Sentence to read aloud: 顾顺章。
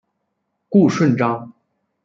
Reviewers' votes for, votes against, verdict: 2, 0, accepted